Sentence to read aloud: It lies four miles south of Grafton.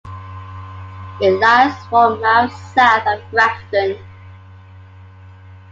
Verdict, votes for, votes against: accepted, 2, 0